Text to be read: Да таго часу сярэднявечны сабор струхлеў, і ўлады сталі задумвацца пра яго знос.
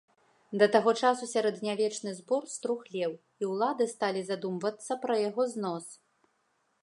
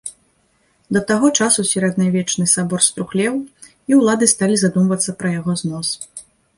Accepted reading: second